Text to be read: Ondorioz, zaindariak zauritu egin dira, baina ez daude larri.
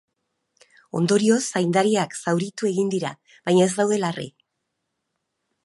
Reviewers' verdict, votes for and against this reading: accepted, 2, 0